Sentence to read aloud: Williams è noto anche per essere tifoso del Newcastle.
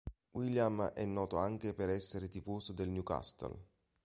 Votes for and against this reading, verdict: 0, 2, rejected